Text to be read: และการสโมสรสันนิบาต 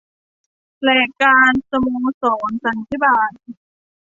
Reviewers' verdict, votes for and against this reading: rejected, 0, 2